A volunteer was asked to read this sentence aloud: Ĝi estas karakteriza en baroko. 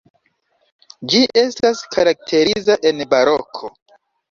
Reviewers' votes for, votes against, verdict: 2, 0, accepted